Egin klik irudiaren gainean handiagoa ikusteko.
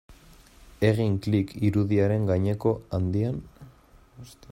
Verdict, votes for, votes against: rejected, 0, 2